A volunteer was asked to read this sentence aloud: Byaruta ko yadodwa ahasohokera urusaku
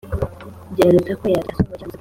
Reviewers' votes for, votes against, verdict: 0, 2, rejected